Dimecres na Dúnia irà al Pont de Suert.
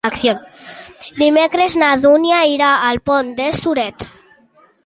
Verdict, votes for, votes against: rejected, 0, 2